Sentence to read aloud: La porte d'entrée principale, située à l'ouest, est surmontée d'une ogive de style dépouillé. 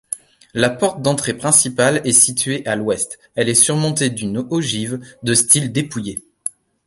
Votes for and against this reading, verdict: 0, 2, rejected